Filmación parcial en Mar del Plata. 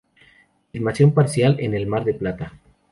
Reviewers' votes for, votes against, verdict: 0, 2, rejected